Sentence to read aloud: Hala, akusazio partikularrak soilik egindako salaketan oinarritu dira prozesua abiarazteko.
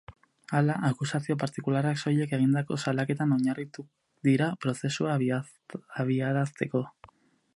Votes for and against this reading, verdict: 4, 6, rejected